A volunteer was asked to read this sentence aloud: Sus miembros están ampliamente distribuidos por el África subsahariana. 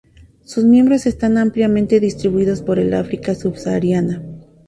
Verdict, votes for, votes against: accepted, 2, 0